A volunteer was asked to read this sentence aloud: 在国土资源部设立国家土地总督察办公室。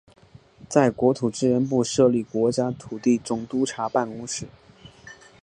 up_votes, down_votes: 3, 1